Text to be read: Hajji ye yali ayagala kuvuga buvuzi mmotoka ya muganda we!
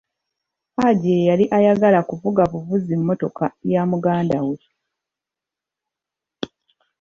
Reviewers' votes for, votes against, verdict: 1, 2, rejected